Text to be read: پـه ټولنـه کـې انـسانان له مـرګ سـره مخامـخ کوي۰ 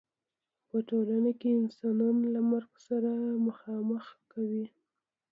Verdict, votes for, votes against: rejected, 0, 2